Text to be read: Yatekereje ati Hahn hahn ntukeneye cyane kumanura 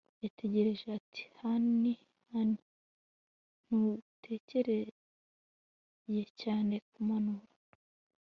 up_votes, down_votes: 2, 0